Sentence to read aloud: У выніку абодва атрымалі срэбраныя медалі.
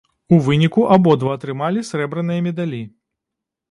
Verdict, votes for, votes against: accepted, 2, 0